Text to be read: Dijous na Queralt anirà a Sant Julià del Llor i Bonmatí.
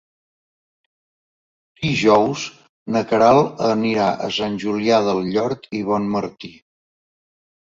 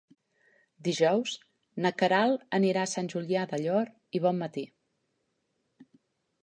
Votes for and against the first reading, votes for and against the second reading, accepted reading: 0, 2, 2, 1, second